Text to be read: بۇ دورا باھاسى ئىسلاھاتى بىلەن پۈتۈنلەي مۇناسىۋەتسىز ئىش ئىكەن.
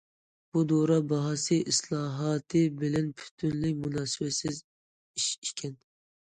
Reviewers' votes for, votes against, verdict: 2, 0, accepted